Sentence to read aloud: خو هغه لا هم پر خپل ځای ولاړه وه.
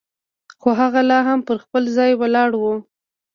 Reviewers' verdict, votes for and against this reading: accepted, 2, 1